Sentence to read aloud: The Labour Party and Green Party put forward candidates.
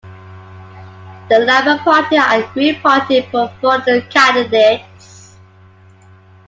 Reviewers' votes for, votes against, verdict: 0, 2, rejected